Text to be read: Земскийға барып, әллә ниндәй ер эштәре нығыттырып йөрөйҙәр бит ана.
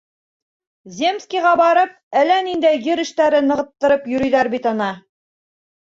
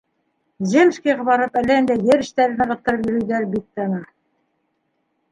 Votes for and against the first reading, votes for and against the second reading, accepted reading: 3, 0, 1, 2, first